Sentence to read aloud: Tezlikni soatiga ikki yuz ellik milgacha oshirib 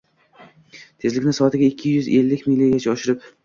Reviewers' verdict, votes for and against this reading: accepted, 2, 0